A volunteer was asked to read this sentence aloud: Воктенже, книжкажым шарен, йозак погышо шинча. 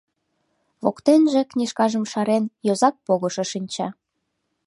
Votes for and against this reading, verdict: 2, 0, accepted